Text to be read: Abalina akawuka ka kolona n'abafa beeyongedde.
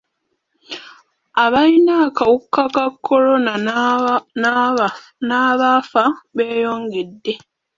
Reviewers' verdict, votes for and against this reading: rejected, 0, 2